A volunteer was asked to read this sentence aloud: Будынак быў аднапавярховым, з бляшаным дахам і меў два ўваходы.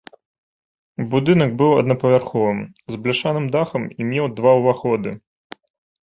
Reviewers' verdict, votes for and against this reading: accepted, 2, 0